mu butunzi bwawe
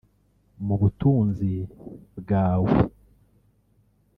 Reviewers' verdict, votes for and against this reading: rejected, 0, 2